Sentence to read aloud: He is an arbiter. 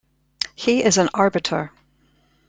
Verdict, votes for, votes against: accepted, 2, 0